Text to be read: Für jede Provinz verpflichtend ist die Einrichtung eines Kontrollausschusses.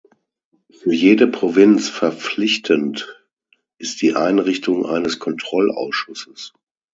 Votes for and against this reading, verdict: 6, 0, accepted